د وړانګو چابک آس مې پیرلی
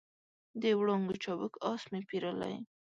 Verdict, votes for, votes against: accepted, 2, 0